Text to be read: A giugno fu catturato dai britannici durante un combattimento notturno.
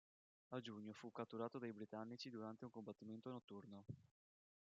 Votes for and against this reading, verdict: 1, 2, rejected